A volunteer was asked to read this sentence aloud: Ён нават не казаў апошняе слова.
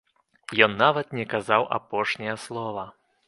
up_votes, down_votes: 3, 0